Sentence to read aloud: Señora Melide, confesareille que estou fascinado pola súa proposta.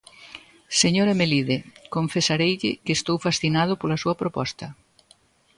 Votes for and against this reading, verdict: 2, 0, accepted